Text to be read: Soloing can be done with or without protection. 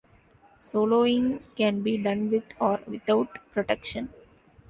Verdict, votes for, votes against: accepted, 2, 0